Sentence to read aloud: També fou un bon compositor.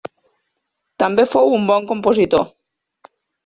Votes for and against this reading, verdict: 3, 0, accepted